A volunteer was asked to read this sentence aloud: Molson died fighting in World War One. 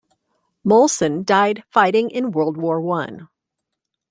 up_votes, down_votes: 2, 0